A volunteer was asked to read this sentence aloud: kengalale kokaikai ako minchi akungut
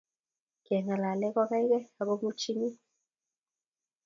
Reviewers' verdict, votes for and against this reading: accepted, 2, 0